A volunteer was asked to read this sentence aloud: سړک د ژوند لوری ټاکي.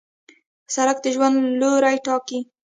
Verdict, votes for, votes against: rejected, 1, 2